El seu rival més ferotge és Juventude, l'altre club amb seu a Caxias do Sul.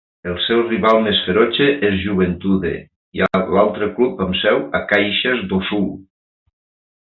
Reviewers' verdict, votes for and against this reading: accepted, 2, 1